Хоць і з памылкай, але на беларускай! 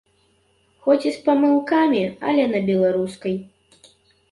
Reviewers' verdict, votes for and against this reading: rejected, 0, 2